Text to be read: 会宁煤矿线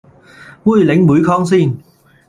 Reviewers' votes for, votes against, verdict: 1, 2, rejected